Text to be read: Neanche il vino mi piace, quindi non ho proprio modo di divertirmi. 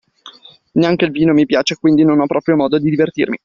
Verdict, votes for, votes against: accepted, 2, 0